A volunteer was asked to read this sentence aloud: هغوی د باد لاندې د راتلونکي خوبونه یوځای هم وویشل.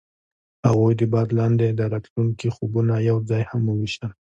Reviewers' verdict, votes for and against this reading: accepted, 2, 0